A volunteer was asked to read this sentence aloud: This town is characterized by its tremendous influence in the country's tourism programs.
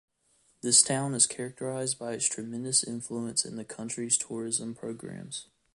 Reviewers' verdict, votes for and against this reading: rejected, 0, 2